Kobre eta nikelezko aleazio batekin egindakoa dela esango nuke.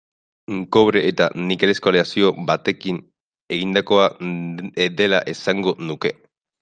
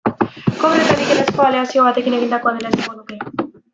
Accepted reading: second